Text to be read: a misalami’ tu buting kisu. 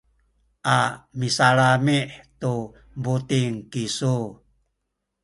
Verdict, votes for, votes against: accepted, 2, 1